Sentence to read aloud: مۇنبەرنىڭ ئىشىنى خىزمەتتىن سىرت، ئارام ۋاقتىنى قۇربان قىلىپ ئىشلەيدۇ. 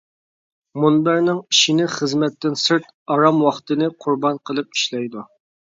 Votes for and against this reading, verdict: 2, 0, accepted